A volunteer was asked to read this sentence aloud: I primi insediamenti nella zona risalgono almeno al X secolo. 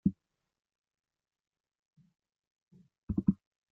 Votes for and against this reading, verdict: 0, 2, rejected